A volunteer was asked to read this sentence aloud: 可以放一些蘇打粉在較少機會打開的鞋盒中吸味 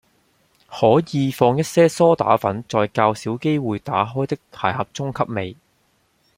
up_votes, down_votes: 2, 0